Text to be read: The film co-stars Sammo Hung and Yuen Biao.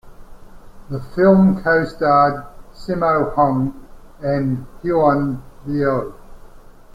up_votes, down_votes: 0, 2